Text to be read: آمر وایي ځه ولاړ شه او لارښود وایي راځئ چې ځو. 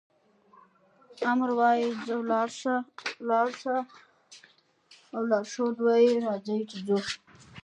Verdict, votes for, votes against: rejected, 1, 2